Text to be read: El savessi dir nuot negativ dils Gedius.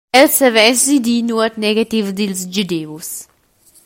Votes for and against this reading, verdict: 2, 0, accepted